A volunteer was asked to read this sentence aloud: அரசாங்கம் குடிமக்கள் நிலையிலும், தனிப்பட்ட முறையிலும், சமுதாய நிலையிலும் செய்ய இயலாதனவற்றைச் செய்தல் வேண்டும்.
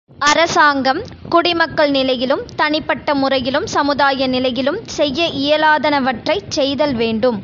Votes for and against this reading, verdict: 3, 0, accepted